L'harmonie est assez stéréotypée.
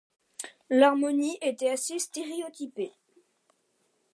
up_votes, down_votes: 2, 1